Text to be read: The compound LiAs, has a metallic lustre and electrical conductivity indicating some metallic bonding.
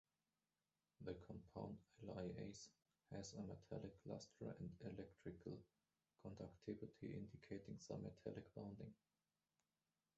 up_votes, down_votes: 1, 2